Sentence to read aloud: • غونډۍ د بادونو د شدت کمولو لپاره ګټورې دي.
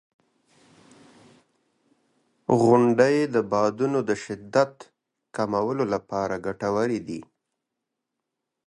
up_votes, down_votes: 2, 0